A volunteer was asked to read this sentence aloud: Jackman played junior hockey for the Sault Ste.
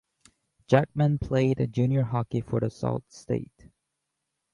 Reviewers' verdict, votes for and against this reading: rejected, 0, 2